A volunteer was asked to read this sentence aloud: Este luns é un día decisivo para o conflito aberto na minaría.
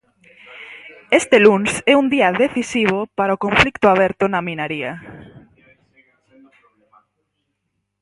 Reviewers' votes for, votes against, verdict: 2, 2, rejected